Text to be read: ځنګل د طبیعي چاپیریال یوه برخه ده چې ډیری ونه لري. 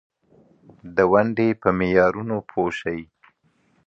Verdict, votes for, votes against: rejected, 0, 2